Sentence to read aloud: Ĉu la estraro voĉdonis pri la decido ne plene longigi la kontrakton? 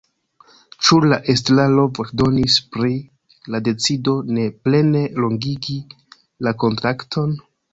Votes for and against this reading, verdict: 0, 2, rejected